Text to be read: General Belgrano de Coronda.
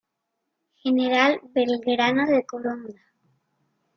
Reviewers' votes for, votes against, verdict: 2, 0, accepted